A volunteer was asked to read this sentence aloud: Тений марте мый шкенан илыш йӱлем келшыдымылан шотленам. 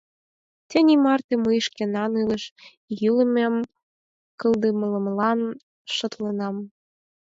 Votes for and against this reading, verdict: 0, 4, rejected